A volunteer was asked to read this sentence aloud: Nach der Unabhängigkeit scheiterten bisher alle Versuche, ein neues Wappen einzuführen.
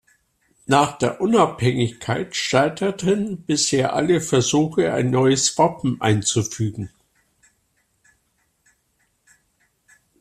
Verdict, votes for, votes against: rejected, 0, 2